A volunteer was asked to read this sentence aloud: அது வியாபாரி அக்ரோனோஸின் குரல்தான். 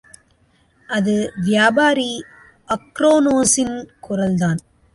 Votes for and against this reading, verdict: 2, 0, accepted